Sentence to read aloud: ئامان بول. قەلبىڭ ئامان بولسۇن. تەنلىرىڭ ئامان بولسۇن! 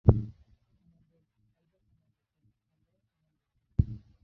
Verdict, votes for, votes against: rejected, 0, 2